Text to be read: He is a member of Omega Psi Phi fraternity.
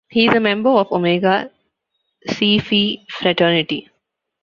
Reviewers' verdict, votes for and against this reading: rejected, 0, 2